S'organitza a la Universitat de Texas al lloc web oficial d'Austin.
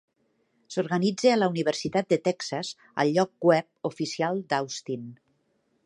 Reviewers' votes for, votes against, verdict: 2, 0, accepted